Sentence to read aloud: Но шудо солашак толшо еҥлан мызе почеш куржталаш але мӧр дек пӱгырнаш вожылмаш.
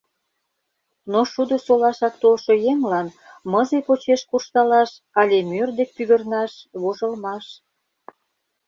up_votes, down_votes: 2, 0